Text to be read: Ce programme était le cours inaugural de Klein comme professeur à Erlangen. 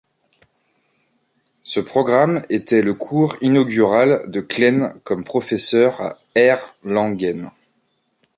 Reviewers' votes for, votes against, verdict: 0, 2, rejected